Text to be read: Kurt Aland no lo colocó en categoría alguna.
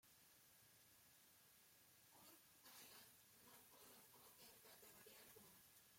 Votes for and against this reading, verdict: 0, 2, rejected